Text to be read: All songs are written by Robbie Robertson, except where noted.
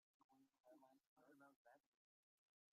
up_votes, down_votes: 1, 2